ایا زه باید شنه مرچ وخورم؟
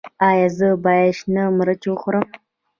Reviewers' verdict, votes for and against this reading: accepted, 2, 0